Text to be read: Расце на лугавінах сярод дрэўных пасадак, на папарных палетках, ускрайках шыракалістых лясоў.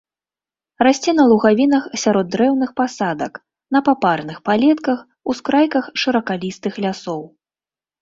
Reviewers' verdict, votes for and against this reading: accepted, 2, 0